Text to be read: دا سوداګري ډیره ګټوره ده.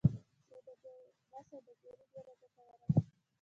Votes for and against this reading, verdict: 2, 1, accepted